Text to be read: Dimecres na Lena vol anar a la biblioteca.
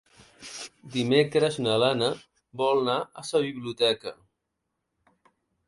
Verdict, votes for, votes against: rejected, 0, 2